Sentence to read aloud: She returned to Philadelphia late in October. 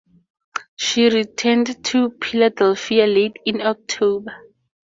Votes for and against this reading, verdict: 2, 0, accepted